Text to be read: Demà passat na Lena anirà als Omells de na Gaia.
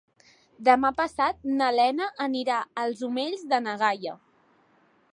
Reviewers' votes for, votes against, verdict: 2, 0, accepted